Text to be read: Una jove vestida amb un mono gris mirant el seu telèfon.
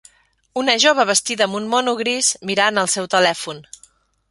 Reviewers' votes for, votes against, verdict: 2, 0, accepted